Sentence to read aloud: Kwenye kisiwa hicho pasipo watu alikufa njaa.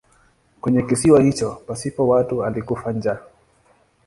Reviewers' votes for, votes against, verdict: 2, 0, accepted